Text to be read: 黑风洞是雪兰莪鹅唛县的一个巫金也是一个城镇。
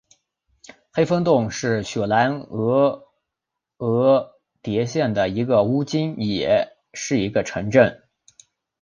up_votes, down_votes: 0, 2